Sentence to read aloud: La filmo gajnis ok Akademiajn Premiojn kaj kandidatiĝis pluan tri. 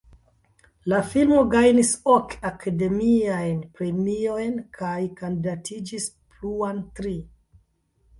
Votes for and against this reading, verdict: 2, 1, accepted